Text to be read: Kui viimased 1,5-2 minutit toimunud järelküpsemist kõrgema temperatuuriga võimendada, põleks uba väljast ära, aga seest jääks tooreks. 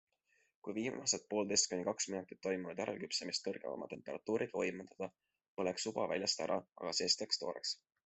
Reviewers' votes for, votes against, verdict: 0, 2, rejected